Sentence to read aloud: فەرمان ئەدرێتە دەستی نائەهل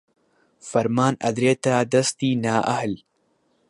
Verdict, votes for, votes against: accepted, 2, 0